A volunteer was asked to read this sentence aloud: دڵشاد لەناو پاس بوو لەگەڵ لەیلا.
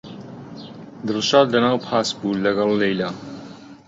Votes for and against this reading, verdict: 3, 0, accepted